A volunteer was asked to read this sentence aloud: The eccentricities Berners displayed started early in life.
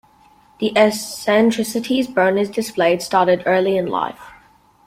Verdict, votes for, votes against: accepted, 2, 0